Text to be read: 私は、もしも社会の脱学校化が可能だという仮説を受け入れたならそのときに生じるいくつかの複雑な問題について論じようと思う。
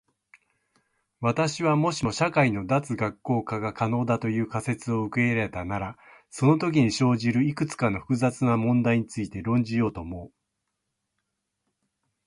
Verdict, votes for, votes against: accepted, 2, 0